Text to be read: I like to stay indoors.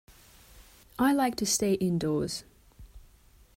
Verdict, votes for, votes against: accepted, 2, 0